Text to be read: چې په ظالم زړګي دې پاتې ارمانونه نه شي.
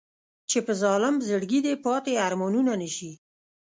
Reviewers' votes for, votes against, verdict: 2, 0, accepted